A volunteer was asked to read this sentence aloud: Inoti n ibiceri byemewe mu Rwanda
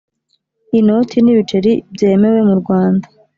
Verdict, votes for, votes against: accepted, 2, 0